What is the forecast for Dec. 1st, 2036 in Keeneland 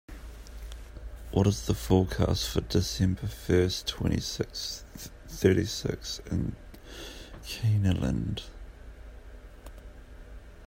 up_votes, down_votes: 0, 2